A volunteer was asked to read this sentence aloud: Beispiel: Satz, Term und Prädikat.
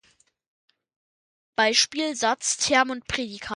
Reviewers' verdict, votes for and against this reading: rejected, 1, 2